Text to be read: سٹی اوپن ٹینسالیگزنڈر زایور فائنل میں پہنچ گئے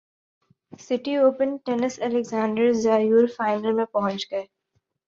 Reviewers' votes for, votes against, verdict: 2, 1, accepted